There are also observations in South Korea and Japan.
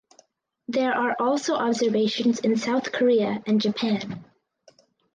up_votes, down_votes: 4, 0